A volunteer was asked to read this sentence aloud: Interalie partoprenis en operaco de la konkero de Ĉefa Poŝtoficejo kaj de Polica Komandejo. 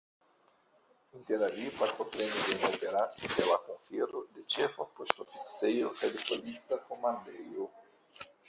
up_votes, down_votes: 0, 2